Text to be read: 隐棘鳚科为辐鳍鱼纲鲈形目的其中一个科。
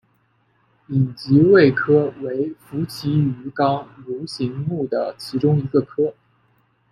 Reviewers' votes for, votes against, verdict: 2, 0, accepted